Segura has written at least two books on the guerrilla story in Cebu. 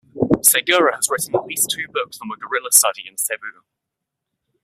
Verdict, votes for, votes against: rejected, 0, 2